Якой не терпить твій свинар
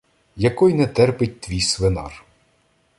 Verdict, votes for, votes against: rejected, 0, 2